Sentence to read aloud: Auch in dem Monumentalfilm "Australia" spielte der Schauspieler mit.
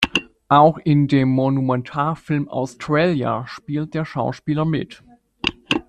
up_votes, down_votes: 1, 2